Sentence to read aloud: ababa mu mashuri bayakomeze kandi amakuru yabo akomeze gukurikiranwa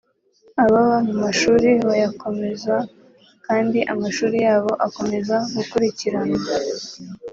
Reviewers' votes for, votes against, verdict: 1, 2, rejected